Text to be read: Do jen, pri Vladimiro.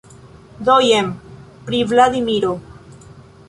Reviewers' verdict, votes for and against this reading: rejected, 1, 2